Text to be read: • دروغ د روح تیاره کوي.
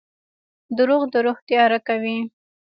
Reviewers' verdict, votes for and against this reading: rejected, 1, 2